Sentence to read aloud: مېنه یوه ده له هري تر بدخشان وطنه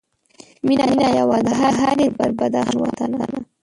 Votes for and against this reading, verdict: 1, 2, rejected